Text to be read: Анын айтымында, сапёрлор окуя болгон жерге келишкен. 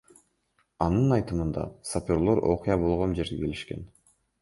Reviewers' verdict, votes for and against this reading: rejected, 1, 2